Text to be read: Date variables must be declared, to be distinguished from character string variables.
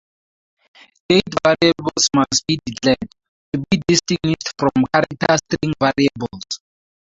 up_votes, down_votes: 0, 4